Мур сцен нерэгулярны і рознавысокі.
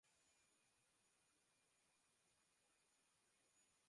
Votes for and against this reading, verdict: 0, 2, rejected